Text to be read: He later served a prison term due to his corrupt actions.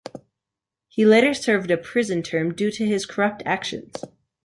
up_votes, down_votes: 2, 0